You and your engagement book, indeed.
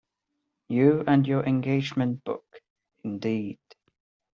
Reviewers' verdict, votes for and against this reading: accepted, 2, 0